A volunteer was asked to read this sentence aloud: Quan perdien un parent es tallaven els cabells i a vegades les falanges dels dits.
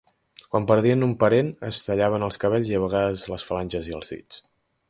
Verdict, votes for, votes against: rejected, 1, 2